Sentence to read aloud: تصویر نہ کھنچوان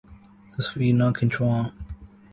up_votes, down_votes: 2, 0